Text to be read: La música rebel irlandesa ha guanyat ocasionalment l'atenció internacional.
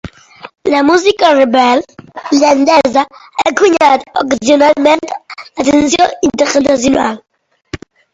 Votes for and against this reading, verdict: 0, 2, rejected